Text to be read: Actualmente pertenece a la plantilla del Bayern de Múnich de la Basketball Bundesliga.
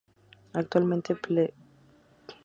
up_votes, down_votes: 0, 2